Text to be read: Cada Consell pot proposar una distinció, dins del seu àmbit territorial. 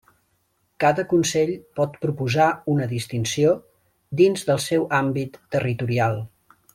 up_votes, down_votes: 3, 0